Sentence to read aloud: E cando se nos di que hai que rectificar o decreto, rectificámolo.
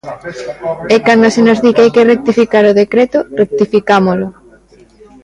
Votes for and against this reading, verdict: 0, 2, rejected